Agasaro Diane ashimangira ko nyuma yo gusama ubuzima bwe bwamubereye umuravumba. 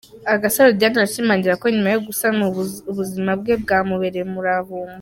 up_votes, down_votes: 0, 2